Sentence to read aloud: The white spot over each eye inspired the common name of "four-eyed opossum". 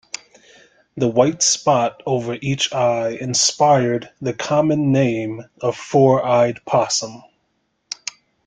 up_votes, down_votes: 0, 2